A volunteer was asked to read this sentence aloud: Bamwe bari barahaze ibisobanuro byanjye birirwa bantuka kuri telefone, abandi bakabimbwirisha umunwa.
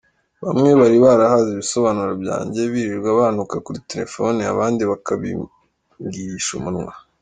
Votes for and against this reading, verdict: 2, 0, accepted